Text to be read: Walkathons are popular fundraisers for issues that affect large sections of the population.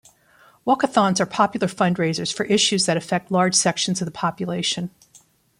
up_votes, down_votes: 2, 0